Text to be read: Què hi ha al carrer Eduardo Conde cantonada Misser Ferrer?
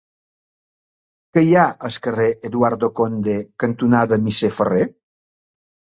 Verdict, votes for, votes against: accepted, 2, 1